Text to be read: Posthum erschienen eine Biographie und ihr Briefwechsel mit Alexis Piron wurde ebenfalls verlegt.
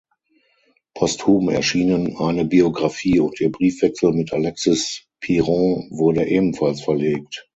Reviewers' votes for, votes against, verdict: 3, 6, rejected